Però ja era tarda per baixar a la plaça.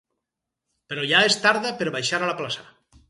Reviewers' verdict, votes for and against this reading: rejected, 0, 4